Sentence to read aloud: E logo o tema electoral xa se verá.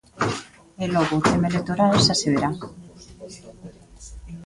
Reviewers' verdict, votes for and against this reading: rejected, 0, 2